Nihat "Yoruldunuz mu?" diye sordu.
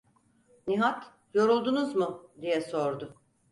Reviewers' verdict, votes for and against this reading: accepted, 4, 0